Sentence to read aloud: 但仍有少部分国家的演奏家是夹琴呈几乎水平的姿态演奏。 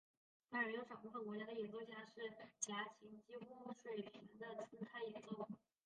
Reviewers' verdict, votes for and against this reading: rejected, 0, 2